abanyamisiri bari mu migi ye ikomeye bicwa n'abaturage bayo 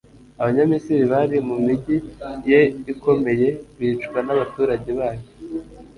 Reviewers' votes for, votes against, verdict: 2, 0, accepted